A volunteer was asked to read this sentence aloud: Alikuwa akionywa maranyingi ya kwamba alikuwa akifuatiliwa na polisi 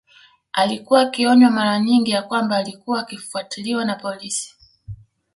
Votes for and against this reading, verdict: 2, 0, accepted